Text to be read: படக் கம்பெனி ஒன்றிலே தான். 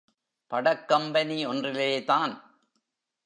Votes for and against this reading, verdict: 2, 1, accepted